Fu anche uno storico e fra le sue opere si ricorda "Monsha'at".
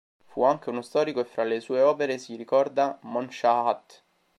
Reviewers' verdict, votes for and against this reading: accepted, 2, 0